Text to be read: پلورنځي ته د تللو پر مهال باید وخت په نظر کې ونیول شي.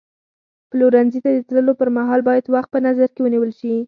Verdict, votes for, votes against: accepted, 4, 0